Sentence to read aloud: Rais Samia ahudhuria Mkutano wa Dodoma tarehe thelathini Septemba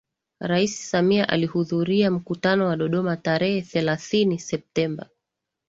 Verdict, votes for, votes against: accepted, 2, 0